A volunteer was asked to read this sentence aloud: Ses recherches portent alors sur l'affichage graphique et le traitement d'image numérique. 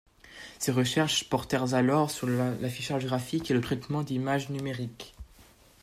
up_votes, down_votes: 2, 0